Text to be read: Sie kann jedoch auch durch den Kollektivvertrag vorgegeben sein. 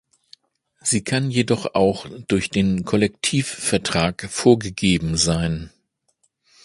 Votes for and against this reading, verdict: 2, 0, accepted